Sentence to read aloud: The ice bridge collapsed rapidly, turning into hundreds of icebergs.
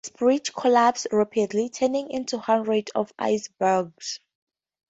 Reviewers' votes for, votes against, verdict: 0, 2, rejected